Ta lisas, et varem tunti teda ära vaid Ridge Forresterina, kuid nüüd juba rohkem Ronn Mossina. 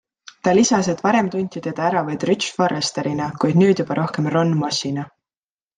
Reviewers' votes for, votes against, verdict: 2, 0, accepted